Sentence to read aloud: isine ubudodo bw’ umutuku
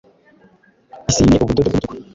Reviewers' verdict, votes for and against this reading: rejected, 0, 2